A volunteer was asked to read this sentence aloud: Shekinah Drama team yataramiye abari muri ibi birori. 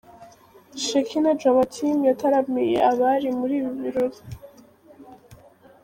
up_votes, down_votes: 2, 1